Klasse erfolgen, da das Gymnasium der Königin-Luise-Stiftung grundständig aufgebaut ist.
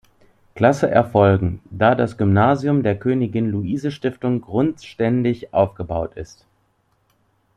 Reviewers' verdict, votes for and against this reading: accepted, 2, 0